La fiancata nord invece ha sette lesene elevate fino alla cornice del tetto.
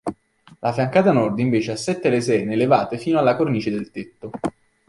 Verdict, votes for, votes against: accepted, 2, 0